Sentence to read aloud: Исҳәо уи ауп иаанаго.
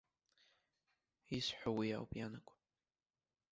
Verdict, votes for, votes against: rejected, 1, 2